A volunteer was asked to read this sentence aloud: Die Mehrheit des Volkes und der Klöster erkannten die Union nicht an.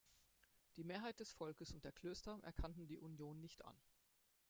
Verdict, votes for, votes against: rejected, 1, 2